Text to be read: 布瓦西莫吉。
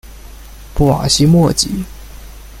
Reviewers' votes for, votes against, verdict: 2, 0, accepted